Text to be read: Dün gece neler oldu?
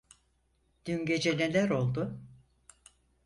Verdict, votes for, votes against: accepted, 4, 0